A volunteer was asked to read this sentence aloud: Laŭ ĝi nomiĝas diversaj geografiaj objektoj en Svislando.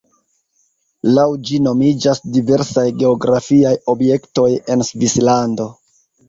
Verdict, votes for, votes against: accepted, 3, 1